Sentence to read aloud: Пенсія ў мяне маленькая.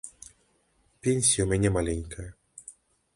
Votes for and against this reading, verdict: 2, 0, accepted